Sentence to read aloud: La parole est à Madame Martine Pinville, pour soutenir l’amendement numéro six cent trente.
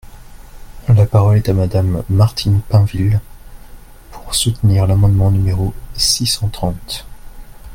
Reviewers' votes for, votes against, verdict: 2, 1, accepted